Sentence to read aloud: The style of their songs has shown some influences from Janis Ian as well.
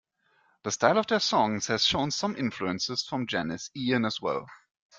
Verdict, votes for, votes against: accepted, 2, 0